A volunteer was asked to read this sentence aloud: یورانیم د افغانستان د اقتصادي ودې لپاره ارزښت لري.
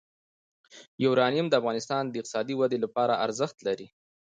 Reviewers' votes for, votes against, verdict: 2, 0, accepted